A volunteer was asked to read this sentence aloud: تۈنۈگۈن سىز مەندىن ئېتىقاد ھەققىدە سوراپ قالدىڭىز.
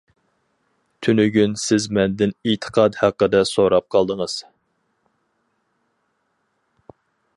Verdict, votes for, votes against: accepted, 4, 0